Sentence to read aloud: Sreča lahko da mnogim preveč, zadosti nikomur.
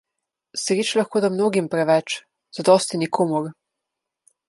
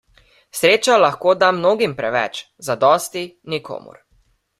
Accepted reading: second